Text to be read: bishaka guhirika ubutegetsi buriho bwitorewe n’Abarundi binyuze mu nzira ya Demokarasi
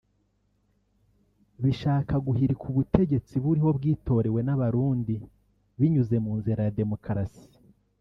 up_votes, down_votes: 1, 2